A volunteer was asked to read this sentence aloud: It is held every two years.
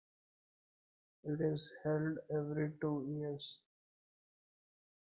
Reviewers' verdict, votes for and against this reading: rejected, 0, 2